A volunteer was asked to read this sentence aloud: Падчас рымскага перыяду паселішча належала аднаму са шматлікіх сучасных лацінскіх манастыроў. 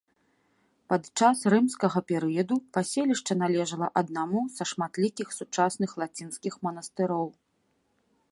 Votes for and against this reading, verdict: 2, 0, accepted